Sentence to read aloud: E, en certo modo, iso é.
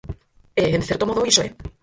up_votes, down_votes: 0, 4